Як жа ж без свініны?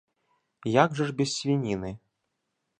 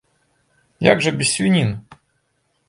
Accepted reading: first